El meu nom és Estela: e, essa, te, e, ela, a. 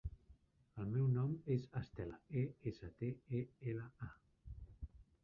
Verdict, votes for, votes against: rejected, 0, 2